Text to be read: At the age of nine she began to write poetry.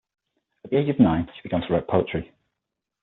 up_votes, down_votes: 6, 3